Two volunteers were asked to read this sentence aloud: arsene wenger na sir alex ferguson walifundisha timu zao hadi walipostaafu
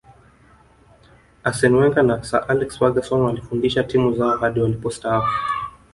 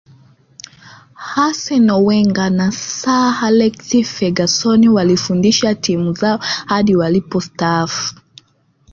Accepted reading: second